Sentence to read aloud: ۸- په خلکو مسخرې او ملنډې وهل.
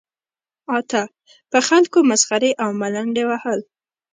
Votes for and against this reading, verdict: 0, 2, rejected